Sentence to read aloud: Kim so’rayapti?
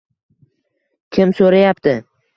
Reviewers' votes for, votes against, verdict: 2, 0, accepted